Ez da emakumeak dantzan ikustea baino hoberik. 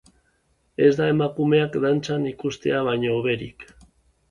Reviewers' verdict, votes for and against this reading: accepted, 3, 0